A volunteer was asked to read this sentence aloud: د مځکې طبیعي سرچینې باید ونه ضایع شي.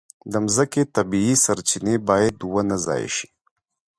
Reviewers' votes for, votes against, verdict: 2, 0, accepted